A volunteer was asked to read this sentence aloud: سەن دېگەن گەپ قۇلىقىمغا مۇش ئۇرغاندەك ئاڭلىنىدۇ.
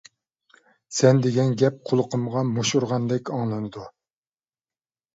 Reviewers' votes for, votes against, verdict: 2, 0, accepted